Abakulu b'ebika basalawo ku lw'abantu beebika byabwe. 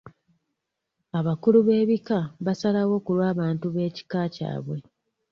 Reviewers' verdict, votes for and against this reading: rejected, 1, 2